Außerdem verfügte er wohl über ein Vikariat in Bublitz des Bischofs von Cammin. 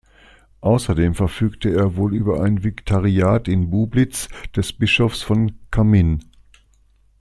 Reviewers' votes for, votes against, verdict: 2, 0, accepted